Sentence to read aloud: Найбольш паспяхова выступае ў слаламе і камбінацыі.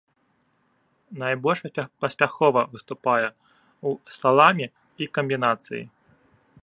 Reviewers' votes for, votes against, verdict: 0, 2, rejected